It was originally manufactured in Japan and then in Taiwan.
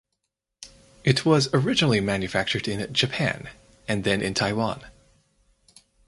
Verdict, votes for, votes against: accepted, 4, 0